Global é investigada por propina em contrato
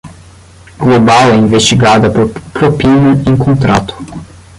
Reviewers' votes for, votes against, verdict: 5, 5, rejected